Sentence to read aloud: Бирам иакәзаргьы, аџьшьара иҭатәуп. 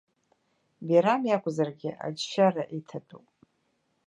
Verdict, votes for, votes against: accepted, 2, 0